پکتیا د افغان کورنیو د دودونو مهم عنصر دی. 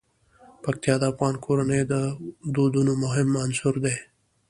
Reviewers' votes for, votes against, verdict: 2, 0, accepted